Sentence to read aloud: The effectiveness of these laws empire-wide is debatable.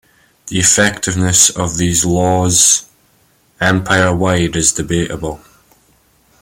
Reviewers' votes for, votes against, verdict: 2, 1, accepted